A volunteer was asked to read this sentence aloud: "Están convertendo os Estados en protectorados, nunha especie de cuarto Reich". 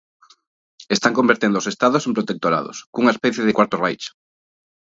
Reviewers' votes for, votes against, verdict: 0, 2, rejected